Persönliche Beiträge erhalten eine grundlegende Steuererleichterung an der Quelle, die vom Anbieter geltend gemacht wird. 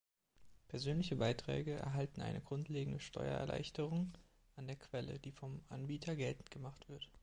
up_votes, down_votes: 2, 0